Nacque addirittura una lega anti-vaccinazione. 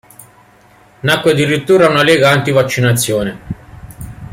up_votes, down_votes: 2, 0